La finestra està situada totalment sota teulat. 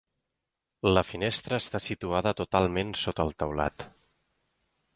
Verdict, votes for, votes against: rejected, 0, 2